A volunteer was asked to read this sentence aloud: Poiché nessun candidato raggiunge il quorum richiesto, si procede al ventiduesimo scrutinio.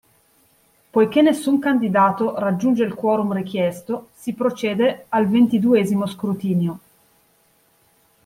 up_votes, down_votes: 2, 0